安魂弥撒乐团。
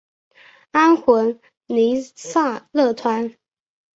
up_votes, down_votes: 4, 1